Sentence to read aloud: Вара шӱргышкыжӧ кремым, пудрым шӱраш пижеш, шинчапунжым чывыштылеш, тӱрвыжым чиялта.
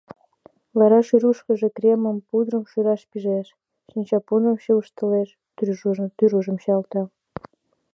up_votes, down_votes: 0, 2